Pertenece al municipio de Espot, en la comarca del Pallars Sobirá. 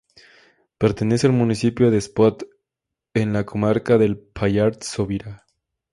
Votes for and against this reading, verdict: 2, 0, accepted